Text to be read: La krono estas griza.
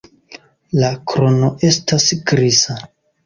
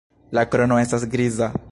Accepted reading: first